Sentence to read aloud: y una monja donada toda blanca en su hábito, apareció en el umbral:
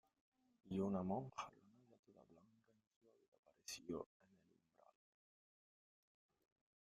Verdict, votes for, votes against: rejected, 0, 2